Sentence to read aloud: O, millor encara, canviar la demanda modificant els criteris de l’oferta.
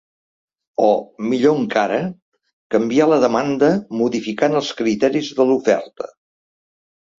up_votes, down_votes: 3, 0